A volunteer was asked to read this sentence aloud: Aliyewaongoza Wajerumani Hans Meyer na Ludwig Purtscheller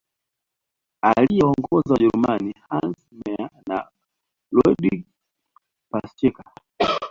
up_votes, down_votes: 0, 2